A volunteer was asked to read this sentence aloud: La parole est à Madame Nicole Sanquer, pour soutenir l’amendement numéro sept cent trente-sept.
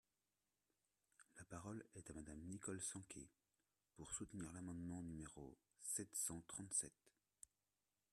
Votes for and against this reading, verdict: 1, 2, rejected